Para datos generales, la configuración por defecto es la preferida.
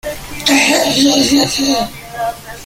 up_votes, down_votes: 0, 2